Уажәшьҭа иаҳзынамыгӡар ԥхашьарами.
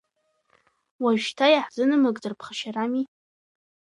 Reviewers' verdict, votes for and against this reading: accepted, 2, 0